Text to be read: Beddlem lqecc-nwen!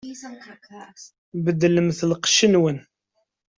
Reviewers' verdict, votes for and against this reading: accepted, 2, 0